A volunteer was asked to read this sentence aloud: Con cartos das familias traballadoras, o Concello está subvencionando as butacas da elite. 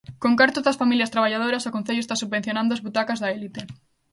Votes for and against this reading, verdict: 2, 1, accepted